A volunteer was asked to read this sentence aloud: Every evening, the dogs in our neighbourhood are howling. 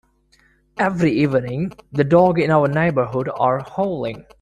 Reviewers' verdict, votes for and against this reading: rejected, 1, 2